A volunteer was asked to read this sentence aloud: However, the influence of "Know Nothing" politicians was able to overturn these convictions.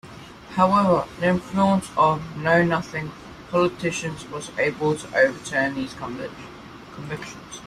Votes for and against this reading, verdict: 1, 2, rejected